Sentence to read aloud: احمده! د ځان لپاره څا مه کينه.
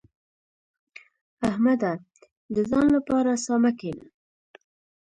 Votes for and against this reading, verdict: 1, 2, rejected